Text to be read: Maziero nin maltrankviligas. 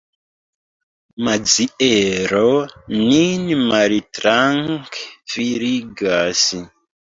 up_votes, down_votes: 0, 2